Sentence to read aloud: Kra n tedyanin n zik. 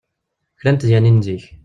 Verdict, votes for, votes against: rejected, 1, 2